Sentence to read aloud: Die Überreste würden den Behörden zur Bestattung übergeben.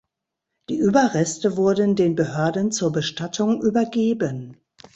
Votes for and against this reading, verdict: 0, 2, rejected